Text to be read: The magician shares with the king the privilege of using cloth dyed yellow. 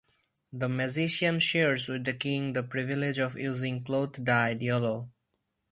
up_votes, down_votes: 2, 2